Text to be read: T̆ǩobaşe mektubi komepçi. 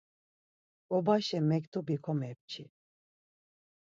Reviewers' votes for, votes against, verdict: 4, 0, accepted